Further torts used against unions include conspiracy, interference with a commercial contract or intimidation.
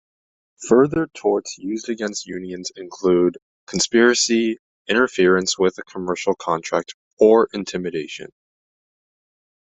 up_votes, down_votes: 2, 0